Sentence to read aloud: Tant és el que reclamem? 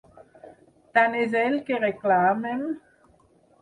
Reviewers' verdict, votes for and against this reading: accepted, 4, 0